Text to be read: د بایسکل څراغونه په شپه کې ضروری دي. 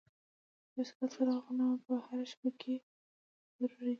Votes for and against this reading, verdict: 1, 2, rejected